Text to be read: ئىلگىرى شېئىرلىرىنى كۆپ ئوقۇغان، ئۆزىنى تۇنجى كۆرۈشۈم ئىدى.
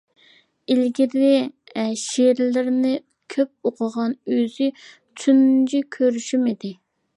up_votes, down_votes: 0, 2